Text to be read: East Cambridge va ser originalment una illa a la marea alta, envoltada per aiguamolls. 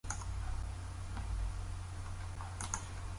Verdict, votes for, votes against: rejected, 0, 2